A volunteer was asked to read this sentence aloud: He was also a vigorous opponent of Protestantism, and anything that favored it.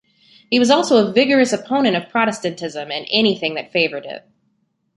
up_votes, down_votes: 3, 0